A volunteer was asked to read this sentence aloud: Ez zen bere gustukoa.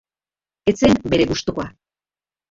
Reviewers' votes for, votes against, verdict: 1, 2, rejected